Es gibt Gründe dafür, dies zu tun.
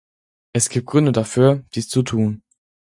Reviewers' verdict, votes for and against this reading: accepted, 4, 0